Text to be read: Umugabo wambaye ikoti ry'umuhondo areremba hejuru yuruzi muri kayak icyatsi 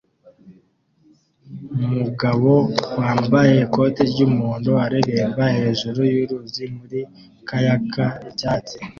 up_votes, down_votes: 2, 0